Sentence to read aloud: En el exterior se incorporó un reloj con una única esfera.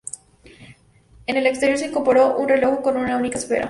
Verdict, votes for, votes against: accepted, 2, 0